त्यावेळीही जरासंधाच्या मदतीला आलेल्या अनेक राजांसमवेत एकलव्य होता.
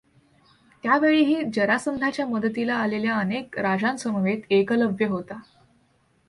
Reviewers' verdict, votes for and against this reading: accepted, 2, 0